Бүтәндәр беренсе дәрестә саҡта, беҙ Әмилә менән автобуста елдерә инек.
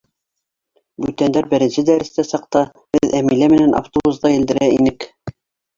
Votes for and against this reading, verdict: 0, 2, rejected